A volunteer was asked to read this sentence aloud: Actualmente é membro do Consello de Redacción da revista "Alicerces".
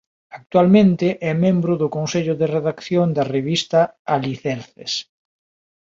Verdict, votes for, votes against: accepted, 2, 0